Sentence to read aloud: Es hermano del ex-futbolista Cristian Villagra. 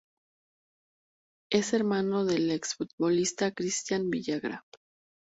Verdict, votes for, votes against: accepted, 2, 0